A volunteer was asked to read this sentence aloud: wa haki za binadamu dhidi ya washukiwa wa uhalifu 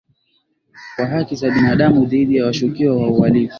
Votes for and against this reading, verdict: 7, 1, accepted